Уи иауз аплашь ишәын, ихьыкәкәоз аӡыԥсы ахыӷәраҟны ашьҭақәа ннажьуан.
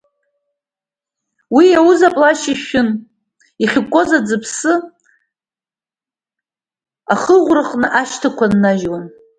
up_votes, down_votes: 1, 2